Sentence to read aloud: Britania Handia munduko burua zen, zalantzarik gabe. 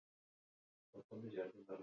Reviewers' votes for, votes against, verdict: 0, 2, rejected